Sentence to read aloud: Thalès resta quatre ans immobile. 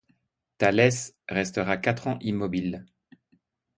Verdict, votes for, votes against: rejected, 0, 2